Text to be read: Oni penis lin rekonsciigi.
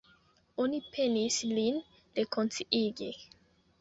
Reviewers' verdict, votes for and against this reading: rejected, 1, 2